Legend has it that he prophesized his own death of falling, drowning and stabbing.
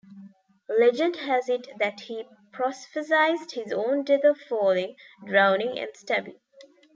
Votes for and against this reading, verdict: 0, 2, rejected